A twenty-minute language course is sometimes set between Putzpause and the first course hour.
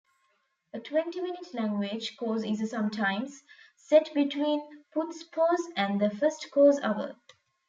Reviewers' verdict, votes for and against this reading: accepted, 2, 0